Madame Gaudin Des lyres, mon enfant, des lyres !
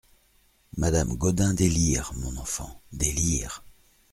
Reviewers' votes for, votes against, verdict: 2, 0, accepted